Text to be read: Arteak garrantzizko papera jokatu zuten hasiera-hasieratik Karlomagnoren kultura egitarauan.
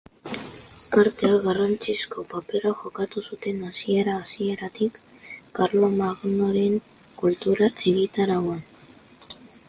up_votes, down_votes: 2, 1